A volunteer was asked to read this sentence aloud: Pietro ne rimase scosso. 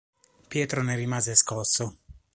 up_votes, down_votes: 3, 0